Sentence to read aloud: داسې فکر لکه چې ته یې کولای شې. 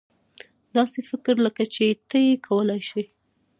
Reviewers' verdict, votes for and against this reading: accepted, 2, 0